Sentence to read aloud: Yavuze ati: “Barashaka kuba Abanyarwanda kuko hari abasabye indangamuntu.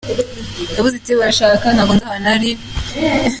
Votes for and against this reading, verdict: 0, 2, rejected